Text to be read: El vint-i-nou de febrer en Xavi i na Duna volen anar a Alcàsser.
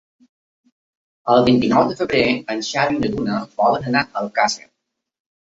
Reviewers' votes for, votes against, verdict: 3, 1, accepted